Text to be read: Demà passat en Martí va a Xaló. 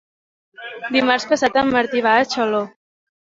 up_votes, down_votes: 2, 1